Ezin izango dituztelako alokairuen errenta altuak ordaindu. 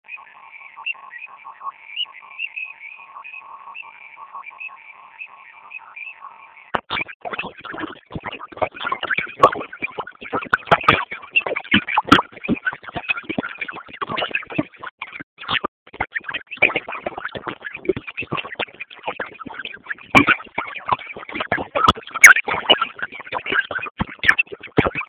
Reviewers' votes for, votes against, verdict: 0, 6, rejected